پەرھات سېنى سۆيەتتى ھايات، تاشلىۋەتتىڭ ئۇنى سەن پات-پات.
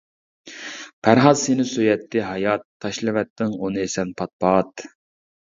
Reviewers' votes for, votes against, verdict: 2, 0, accepted